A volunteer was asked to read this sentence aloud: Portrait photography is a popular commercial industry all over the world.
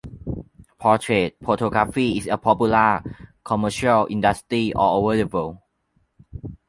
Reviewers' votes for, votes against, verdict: 2, 1, accepted